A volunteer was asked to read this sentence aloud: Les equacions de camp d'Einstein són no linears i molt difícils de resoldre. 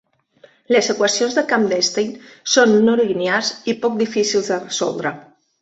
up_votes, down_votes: 0, 2